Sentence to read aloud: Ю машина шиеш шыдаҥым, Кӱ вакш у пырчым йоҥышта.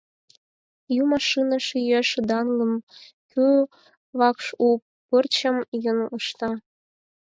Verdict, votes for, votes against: rejected, 0, 4